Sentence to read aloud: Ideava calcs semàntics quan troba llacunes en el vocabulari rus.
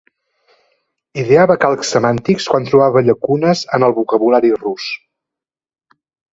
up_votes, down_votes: 2, 0